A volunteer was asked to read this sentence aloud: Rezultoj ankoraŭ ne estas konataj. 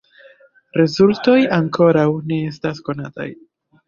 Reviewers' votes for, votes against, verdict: 2, 0, accepted